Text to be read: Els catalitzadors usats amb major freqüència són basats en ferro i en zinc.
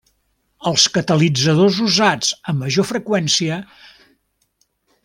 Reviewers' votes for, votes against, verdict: 0, 2, rejected